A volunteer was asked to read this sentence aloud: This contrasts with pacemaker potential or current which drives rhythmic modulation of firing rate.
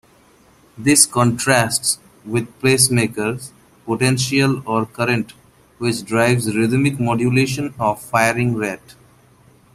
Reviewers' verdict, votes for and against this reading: accepted, 2, 0